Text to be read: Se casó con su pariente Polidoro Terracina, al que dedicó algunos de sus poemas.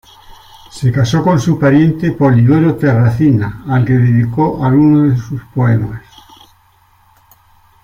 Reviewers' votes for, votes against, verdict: 2, 1, accepted